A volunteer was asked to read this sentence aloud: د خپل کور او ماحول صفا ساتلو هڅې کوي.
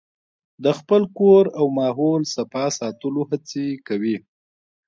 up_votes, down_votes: 0, 2